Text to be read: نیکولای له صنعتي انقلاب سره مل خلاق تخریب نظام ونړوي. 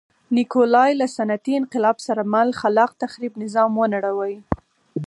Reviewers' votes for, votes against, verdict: 4, 0, accepted